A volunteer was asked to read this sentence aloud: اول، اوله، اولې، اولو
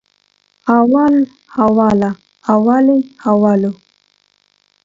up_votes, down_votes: 2, 0